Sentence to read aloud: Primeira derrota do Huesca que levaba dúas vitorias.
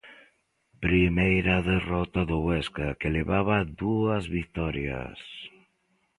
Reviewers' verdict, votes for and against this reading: accepted, 2, 1